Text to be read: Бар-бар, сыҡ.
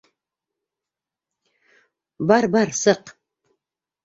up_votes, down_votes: 2, 0